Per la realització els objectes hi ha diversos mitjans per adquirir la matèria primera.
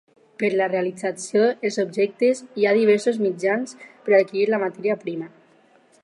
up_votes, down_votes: 4, 0